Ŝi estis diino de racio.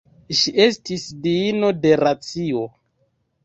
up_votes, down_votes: 2, 1